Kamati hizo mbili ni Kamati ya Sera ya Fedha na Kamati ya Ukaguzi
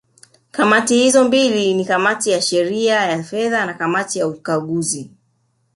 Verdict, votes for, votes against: rejected, 1, 2